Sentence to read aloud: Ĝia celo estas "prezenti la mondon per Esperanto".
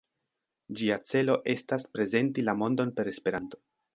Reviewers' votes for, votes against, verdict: 2, 1, accepted